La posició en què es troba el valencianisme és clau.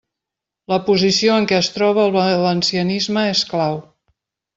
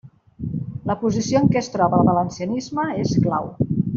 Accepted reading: second